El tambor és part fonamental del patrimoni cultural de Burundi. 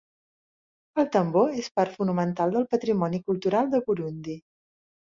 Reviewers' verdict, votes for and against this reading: accepted, 2, 0